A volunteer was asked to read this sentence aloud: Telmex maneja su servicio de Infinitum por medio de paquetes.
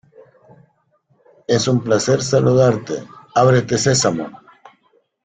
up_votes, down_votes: 0, 2